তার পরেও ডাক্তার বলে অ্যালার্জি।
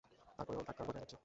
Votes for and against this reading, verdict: 0, 3, rejected